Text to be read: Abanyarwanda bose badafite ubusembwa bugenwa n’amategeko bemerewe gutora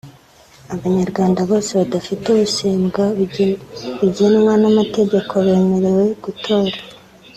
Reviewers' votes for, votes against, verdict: 1, 2, rejected